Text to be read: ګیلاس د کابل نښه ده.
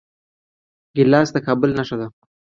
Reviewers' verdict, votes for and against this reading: accepted, 3, 0